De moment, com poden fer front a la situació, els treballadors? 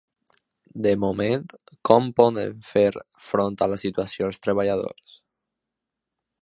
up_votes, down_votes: 2, 0